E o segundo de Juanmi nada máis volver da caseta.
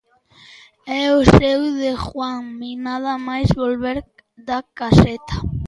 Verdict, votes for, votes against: rejected, 0, 2